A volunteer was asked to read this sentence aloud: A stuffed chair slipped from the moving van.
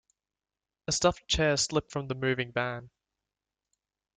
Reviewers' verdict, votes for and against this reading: accepted, 2, 0